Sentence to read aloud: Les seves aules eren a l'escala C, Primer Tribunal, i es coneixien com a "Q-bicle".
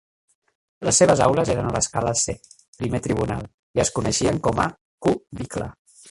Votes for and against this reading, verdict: 1, 2, rejected